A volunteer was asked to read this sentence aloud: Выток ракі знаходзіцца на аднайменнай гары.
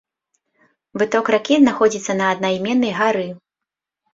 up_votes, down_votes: 2, 0